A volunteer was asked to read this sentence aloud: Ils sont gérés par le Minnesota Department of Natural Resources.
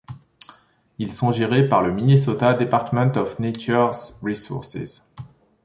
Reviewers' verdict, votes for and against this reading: rejected, 1, 3